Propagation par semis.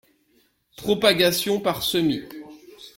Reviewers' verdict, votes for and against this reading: accepted, 2, 0